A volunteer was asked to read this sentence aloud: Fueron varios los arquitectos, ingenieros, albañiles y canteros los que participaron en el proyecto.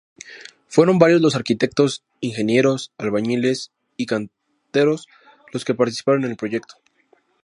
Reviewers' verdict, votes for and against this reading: accepted, 2, 0